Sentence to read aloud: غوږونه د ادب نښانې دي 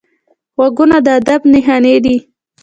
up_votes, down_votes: 2, 0